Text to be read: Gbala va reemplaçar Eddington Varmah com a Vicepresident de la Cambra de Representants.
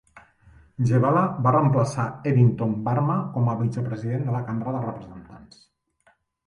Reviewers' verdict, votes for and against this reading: rejected, 0, 2